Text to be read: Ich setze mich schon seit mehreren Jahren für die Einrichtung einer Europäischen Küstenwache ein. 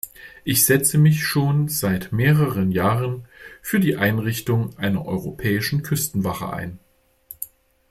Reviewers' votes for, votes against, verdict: 2, 0, accepted